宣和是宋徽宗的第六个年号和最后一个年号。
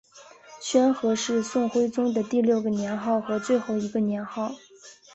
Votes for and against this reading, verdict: 3, 0, accepted